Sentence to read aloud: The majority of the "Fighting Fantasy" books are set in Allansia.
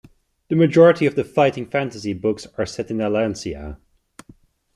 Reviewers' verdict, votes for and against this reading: accepted, 2, 0